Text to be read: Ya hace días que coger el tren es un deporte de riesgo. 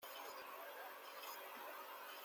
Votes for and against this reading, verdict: 0, 2, rejected